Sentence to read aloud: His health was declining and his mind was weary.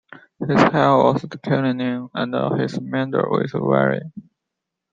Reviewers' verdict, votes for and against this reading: rejected, 0, 2